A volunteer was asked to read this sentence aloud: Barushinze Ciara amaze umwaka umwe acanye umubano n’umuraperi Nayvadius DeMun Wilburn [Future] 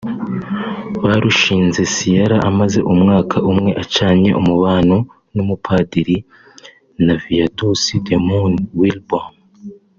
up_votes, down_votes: 1, 2